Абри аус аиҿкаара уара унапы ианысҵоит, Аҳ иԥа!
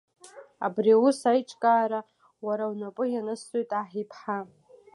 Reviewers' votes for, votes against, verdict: 1, 2, rejected